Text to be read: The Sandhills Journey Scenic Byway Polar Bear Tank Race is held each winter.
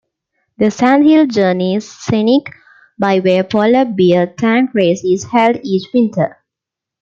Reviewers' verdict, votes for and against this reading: rejected, 0, 2